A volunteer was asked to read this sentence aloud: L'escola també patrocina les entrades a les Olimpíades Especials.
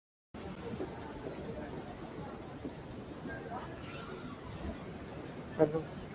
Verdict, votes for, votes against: rejected, 0, 4